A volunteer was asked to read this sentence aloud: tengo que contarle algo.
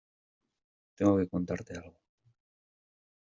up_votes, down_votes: 0, 2